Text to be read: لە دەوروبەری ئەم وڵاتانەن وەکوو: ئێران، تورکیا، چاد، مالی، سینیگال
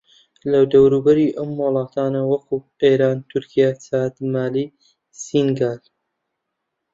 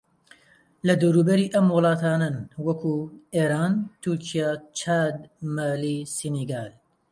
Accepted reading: second